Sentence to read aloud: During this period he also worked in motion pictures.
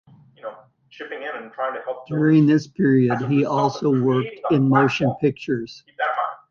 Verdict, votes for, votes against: rejected, 1, 2